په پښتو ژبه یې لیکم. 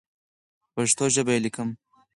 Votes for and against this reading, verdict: 4, 2, accepted